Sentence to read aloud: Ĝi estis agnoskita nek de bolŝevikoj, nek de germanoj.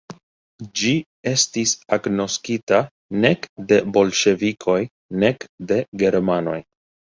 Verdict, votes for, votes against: rejected, 1, 2